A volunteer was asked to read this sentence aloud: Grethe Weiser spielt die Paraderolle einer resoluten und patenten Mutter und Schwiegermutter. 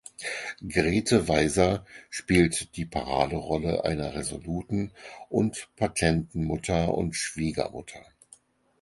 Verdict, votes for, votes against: accepted, 4, 0